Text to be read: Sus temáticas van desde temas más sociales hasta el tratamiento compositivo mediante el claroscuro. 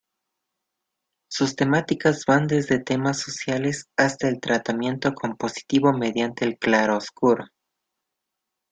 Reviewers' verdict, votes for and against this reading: rejected, 0, 2